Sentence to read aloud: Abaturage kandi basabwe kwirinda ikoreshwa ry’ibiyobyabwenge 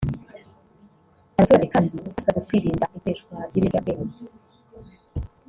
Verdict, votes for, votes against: rejected, 0, 2